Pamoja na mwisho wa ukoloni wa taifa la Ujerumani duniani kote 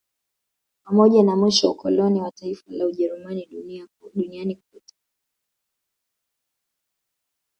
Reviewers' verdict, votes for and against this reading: rejected, 1, 2